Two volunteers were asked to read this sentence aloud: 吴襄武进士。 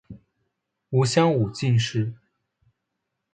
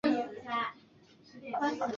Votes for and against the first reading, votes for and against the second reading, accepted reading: 2, 0, 0, 2, first